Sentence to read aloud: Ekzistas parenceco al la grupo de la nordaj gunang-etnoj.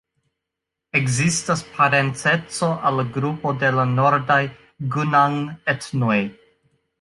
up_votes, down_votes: 0, 2